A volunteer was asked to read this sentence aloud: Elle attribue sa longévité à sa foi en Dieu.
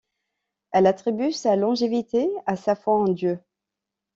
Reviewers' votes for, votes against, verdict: 2, 0, accepted